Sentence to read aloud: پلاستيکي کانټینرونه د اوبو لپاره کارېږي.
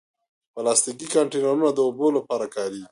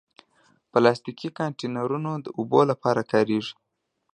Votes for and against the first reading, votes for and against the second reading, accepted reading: 0, 2, 2, 0, second